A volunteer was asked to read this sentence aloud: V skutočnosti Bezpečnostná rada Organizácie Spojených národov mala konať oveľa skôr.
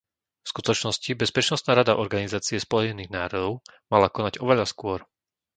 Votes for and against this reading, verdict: 1, 2, rejected